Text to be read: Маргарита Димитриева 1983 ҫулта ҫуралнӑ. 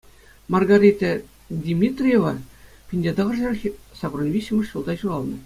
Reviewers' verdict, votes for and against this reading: rejected, 0, 2